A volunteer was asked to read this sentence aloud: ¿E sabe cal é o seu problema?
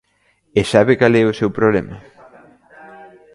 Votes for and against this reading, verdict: 0, 2, rejected